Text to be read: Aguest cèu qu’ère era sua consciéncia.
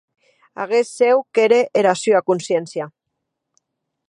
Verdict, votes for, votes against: accepted, 2, 0